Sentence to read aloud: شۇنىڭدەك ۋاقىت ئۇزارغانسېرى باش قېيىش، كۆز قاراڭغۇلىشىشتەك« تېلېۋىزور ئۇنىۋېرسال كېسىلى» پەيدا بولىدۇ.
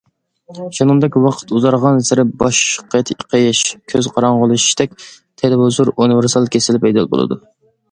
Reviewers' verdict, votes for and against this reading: rejected, 0, 2